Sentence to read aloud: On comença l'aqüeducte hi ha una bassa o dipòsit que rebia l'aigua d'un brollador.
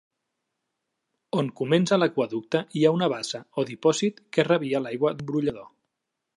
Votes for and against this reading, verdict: 2, 0, accepted